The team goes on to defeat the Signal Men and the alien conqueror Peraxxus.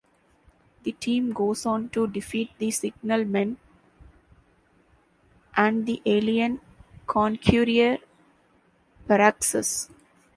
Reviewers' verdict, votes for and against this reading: rejected, 0, 2